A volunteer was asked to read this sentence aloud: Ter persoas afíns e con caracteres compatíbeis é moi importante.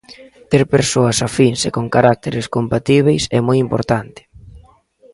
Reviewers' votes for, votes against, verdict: 0, 2, rejected